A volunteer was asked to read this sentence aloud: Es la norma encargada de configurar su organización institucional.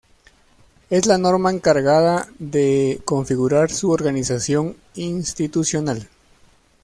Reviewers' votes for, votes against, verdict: 0, 2, rejected